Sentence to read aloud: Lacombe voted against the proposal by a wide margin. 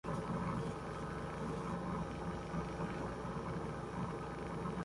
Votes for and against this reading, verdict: 0, 2, rejected